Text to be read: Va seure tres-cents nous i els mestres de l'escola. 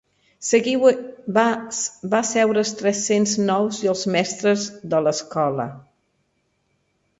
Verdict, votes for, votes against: rejected, 0, 2